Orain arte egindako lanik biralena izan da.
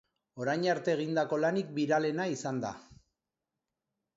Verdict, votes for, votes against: accepted, 2, 0